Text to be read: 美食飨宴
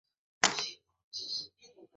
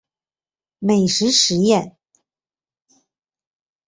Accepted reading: second